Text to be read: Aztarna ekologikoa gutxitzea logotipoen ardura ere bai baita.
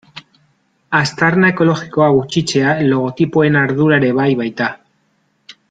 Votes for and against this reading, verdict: 2, 0, accepted